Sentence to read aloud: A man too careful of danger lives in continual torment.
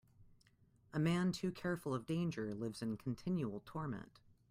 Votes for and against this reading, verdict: 2, 0, accepted